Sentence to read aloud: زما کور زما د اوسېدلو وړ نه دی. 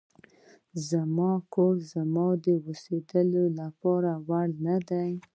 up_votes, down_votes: 2, 1